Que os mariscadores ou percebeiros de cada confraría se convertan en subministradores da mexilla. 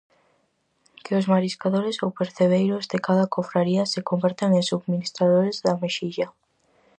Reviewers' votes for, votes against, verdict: 2, 2, rejected